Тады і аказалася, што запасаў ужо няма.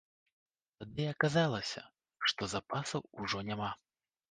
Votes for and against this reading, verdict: 2, 1, accepted